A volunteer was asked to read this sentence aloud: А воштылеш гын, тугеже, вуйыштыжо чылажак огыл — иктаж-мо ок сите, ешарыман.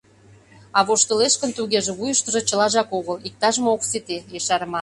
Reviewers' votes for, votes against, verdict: 0, 2, rejected